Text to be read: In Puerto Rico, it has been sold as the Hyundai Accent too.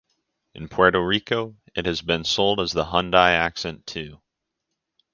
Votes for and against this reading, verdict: 6, 0, accepted